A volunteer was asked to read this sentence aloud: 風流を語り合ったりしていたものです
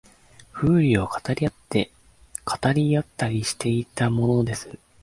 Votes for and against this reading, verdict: 1, 2, rejected